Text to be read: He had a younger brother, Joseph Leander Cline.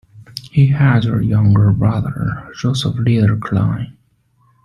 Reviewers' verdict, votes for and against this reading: accepted, 2, 0